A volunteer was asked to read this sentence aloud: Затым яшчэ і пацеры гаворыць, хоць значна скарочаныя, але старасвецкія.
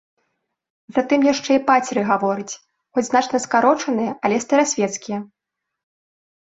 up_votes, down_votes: 2, 0